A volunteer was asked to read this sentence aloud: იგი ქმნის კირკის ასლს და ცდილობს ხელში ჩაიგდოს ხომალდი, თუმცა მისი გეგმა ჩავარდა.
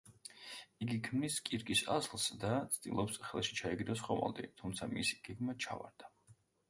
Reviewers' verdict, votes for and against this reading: accepted, 2, 0